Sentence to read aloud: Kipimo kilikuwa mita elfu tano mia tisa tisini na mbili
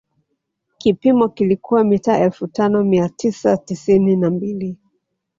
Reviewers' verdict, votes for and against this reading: accepted, 2, 1